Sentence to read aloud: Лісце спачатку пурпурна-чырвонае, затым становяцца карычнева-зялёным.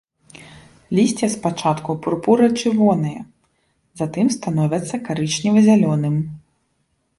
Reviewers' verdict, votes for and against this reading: rejected, 1, 2